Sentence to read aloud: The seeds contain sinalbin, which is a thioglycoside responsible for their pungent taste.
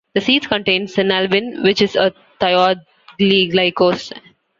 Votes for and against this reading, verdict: 0, 2, rejected